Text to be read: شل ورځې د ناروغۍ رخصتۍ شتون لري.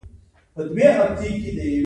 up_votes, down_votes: 2, 0